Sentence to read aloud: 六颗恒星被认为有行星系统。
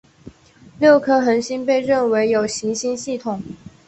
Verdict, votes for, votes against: accepted, 2, 0